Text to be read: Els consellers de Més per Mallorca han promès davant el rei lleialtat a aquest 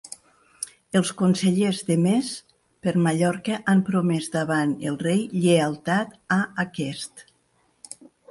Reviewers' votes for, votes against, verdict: 2, 0, accepted